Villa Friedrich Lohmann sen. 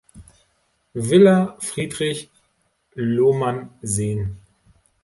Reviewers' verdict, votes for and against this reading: rejected, 0, 2